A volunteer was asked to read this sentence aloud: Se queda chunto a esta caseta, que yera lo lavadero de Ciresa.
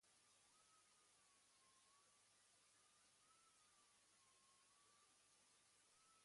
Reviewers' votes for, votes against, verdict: 1, 2, rejected